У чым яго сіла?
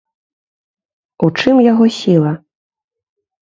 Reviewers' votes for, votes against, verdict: 2, 0, accepted